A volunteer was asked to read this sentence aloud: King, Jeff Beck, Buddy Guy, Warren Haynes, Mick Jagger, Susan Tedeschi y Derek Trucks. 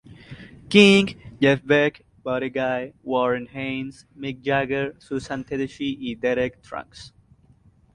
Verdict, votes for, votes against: rejected, 0, 2